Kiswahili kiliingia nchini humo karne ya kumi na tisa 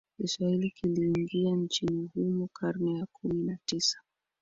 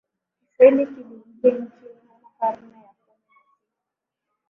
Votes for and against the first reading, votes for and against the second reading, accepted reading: 2, 0, 4, 6, first